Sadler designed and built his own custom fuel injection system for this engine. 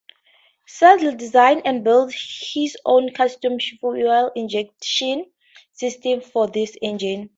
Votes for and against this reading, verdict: 2, 0, accepted